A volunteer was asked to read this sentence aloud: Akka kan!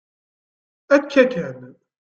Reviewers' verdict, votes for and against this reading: accepted, 2, 1